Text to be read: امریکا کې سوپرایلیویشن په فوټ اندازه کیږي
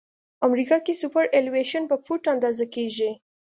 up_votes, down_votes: 2, 0